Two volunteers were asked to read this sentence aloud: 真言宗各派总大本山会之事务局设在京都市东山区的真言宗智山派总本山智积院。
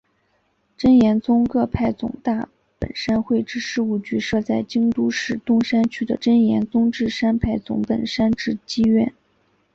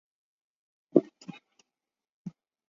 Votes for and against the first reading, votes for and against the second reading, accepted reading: 3, 1, 1, 3, first